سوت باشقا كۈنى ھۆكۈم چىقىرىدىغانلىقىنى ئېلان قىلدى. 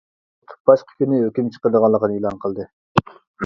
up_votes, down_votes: 0, 2